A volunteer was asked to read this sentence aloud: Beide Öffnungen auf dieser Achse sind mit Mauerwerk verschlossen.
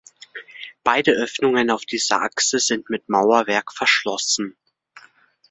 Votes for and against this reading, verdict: 2, 0, accepted